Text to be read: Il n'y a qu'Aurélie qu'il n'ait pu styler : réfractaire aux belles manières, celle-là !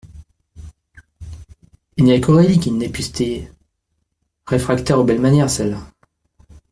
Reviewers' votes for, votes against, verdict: 1, 2, rejected